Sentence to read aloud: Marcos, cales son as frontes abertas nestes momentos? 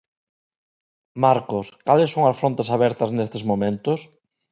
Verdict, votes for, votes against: accepted, 2, 0